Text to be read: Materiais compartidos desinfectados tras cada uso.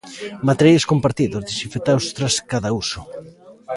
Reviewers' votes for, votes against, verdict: 2, 1, accepted